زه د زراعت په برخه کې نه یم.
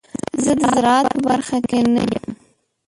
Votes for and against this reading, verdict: 1, 2, rejected